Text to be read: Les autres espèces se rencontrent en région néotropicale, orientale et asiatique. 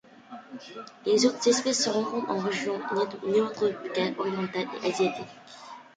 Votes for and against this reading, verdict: 0, 2, rejected